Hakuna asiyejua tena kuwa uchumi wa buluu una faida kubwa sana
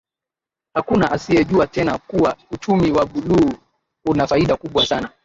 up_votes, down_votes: 0, 3